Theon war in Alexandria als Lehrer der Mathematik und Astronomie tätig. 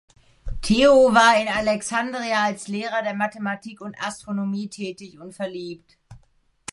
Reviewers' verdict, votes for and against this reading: rejected, 0, 3